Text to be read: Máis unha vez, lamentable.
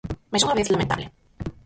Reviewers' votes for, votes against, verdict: 0, 6, rejected